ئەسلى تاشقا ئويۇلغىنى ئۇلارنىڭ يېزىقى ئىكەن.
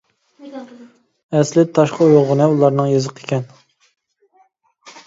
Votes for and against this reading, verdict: 2, 0, accepted